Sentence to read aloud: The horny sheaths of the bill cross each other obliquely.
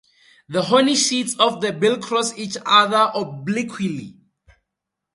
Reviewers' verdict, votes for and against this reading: rejected, 2, 2